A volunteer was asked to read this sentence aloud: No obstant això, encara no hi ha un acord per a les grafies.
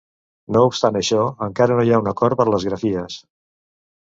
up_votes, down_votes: 0, 2